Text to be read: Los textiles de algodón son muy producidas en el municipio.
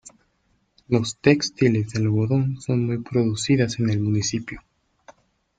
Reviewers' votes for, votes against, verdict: 2, 0, accepted